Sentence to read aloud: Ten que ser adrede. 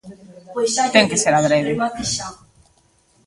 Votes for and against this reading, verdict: 0, 2, rejected